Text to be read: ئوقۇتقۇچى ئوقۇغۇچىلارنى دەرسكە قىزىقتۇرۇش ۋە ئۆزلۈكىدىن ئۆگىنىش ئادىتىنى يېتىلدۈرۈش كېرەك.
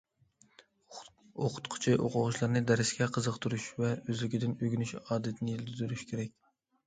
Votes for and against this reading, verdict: 2, 1, accepted